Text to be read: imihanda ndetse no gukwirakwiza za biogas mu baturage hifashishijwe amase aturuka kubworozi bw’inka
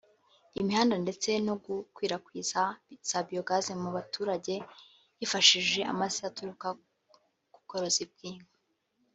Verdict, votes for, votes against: accepted, 2, 0